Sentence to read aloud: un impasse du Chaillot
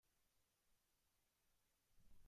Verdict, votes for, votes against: rejected, 0, 2